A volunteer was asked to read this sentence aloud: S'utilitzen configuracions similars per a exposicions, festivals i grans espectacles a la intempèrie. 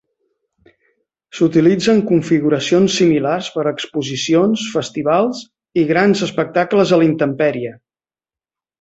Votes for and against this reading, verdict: 2, 0, accepted